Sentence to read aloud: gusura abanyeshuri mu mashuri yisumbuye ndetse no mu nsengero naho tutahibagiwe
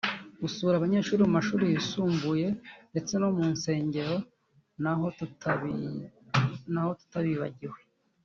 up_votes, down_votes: 1, 2